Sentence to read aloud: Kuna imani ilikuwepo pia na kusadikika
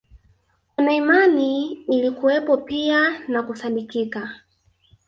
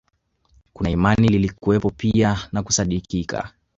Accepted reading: second